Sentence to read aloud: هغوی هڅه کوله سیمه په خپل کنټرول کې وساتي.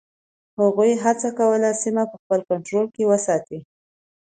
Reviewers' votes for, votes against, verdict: 2, 0, accepted